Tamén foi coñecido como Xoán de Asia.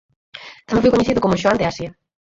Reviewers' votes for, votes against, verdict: 0, 4, rejected